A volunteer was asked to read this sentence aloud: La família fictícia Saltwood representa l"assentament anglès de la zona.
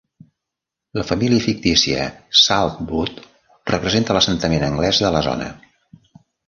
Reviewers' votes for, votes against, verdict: 3, 0, accepted